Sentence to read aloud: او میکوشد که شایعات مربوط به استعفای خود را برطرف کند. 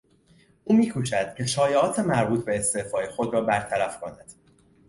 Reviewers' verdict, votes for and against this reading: accepted, 2, 0